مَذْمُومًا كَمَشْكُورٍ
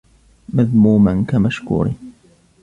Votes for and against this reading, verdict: 2, 0, accepted